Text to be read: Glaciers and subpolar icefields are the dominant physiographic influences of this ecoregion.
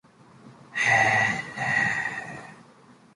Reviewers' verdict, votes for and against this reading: rejected, 0, 2